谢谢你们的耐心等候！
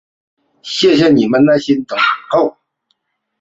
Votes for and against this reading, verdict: 1, 3, rejected